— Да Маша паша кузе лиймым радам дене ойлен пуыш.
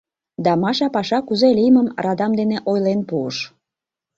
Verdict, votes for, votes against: accepted, 2, 0